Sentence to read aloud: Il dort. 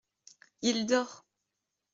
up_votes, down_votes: 2, 0